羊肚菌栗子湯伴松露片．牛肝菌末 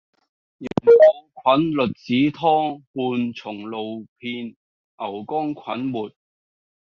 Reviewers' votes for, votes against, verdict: 1, 2, rejected